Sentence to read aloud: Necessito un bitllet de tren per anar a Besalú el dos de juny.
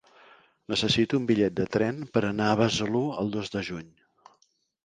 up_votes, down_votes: 3, 0